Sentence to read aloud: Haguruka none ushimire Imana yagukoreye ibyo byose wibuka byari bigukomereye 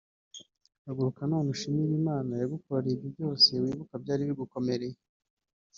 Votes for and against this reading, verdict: 2, 0, accepted